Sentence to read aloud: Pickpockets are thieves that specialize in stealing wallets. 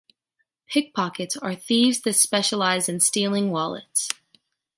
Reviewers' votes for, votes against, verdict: 2, 0, accepted